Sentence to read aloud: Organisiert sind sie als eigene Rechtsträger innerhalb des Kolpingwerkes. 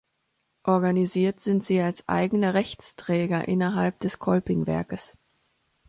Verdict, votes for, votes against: accepted, 3, 0